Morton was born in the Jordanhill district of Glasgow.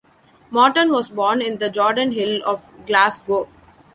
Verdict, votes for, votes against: rejected, 1, 2